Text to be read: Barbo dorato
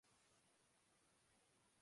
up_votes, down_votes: 0, 2